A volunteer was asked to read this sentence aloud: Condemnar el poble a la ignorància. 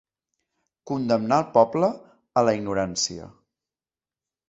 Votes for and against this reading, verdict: 2, 0, accepted